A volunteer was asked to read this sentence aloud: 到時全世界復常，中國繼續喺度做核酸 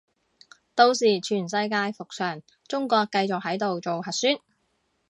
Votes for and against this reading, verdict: 2, 0, accepted